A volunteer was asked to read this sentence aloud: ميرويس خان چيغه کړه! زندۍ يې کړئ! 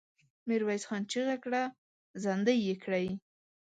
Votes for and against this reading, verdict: 2, 0, accepted